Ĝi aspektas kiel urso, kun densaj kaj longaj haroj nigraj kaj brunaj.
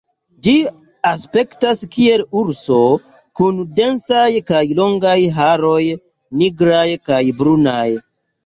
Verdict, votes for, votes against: accepted, 2, 0